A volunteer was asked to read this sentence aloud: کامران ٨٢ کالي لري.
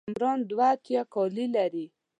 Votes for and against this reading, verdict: 0, 2, rejected